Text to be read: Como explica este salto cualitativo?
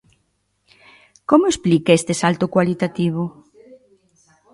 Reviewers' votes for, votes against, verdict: 2, 0, accepted